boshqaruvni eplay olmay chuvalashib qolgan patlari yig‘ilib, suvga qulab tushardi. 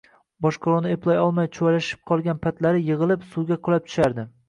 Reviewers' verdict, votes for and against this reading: accepted, 2, 0